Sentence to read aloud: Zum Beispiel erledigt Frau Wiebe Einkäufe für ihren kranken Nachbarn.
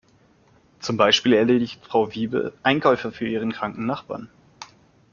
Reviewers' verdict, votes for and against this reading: accepted, 2, 0